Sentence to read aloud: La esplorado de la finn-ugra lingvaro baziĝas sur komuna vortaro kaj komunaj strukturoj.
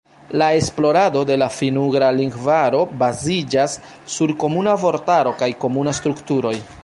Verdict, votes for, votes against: rejected, 0, 2